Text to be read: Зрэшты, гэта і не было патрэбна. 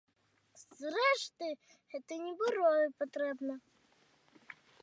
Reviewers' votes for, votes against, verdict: 0, 2, rejected